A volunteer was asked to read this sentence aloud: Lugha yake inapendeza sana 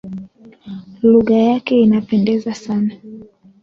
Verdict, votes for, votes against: rejected, 1, 2